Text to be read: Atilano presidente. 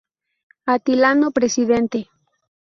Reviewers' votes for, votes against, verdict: 2, 0, accepted